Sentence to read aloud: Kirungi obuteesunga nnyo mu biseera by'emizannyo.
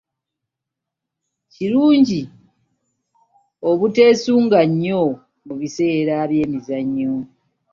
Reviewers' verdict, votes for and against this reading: accepted, 2, 0